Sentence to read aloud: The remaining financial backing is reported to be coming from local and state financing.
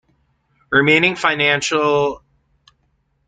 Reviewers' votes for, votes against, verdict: 0, 2, rejected